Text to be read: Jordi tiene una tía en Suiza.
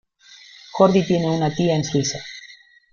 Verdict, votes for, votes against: rejected, 1, 2